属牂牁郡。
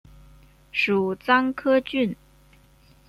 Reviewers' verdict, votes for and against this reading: rejected, 1, 2